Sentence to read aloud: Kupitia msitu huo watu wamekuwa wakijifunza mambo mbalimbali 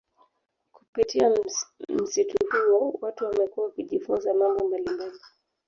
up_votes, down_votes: 1, 2